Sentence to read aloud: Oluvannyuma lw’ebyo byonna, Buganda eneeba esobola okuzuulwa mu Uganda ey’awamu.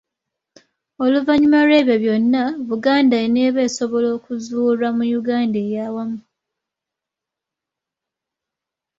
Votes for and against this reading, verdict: 2, 0, accepted